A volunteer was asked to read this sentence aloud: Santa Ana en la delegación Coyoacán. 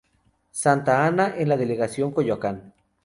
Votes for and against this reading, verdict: 2, 0, accepted